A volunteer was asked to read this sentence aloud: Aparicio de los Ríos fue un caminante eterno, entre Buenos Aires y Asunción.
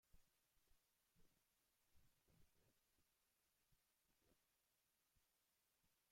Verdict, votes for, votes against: rejected, 0, 2